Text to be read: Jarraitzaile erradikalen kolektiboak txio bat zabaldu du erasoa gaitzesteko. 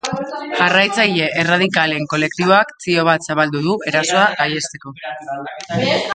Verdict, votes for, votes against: rejected, 0, 2